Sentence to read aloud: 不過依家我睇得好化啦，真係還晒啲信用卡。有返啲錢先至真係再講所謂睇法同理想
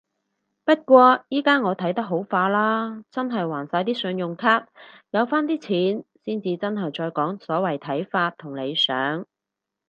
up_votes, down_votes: 4, 0